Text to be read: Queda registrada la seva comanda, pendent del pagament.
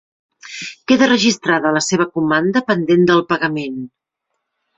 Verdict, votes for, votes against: accepted, 3, 0